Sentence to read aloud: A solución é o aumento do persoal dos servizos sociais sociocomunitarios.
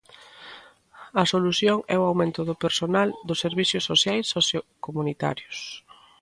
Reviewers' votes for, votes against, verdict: 0, 3, rejected